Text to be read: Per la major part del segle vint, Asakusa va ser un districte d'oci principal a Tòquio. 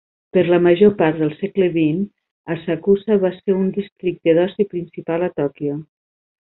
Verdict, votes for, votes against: accepted, 2, 0